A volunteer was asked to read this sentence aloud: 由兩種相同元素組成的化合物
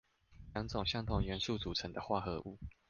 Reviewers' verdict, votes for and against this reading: rejected, 1, 2